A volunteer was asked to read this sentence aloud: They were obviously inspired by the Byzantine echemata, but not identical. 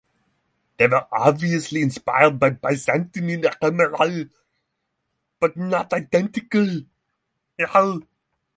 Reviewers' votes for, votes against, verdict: 0, 6, rejected